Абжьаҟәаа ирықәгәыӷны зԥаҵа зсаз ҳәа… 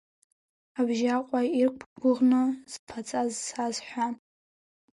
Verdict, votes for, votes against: rejected, 1, 3